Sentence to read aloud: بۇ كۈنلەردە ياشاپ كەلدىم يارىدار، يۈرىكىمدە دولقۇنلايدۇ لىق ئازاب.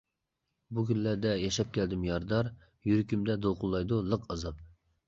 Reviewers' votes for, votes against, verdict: 2, 0, accepted